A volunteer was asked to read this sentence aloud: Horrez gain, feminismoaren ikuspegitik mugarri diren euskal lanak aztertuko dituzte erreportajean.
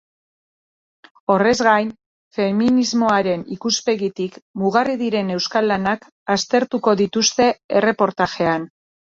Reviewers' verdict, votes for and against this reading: accepted, 2, 0